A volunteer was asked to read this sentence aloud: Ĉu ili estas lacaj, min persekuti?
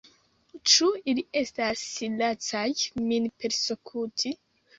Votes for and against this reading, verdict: 1, 2, rejected